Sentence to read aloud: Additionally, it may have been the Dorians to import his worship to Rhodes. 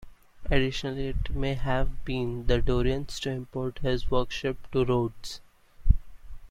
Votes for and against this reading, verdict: 0, 2, rejected